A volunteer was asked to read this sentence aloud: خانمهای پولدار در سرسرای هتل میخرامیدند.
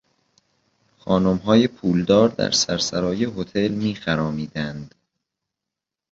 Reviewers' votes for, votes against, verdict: 2, 0, accepted